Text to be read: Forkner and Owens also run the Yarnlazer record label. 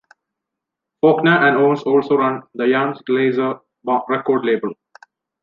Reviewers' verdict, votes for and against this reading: rejected, 1, 2